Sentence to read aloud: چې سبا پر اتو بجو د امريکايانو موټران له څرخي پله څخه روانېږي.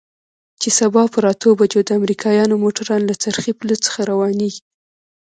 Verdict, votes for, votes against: rejected, 0, 2